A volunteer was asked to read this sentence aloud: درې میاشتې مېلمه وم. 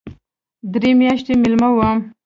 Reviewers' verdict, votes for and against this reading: accepted, 2, 0